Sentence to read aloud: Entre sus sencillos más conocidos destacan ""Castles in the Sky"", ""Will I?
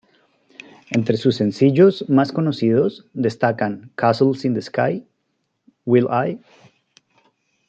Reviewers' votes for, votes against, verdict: 2, 0, accepted